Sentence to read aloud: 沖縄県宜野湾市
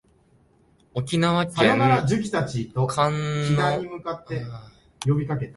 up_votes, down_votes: 2, 3